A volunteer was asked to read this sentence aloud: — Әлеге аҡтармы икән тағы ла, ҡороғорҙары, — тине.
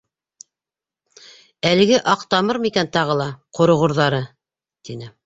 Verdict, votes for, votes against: rejected, 1, 2